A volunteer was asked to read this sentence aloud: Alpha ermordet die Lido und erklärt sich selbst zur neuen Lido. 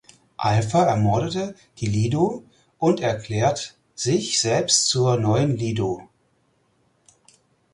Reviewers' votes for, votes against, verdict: 0, 4, rejected